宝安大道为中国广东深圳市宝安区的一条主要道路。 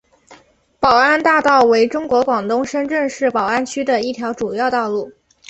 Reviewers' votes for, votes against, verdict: 5, 0, accepted